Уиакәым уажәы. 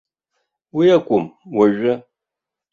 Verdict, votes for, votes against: rejected, 0, 2